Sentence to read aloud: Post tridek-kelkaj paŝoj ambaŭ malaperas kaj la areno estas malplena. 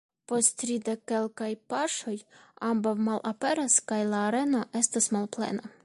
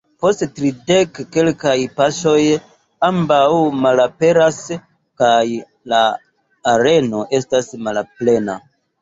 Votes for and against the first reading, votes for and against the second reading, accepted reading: 2, 0, 3, 4, first